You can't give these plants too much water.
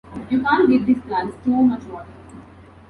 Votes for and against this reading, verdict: 1, 2, rejected